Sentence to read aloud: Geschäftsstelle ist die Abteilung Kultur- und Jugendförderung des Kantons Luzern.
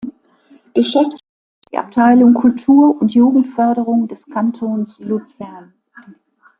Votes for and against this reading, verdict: 1, 2, rejected